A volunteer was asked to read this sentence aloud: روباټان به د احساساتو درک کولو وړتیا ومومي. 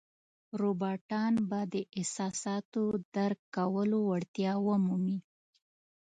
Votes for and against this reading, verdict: 2, 0, accepted